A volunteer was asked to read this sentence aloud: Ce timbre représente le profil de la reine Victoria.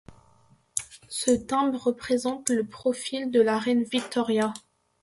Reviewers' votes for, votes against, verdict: 2, 0, accepted